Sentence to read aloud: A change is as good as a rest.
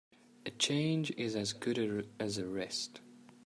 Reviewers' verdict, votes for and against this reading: rejected, 0, 2